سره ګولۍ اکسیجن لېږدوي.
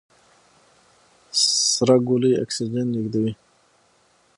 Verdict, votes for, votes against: accepted, 6, 0